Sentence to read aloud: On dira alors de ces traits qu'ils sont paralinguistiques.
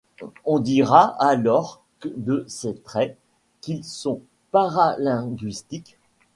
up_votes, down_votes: 0, 2